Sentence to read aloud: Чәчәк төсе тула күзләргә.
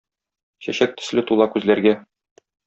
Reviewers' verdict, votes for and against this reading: rejected, 0, 2